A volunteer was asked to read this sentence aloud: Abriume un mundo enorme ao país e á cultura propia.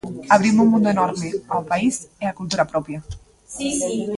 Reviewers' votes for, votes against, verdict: 0, 2, rejected